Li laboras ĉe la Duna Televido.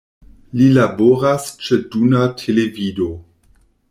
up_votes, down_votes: 1, 2